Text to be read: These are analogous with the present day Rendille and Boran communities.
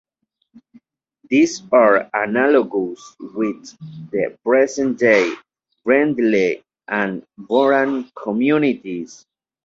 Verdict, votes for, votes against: rejected, 1, 2